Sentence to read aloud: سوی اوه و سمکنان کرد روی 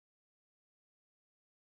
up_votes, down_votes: 2, 0